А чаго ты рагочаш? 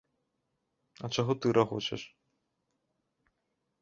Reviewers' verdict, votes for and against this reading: accepted, 2, 0